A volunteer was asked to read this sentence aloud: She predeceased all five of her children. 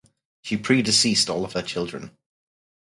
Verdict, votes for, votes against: rejected, 2, 2